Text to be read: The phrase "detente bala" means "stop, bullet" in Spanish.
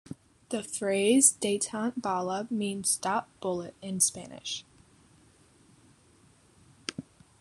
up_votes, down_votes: 2, 1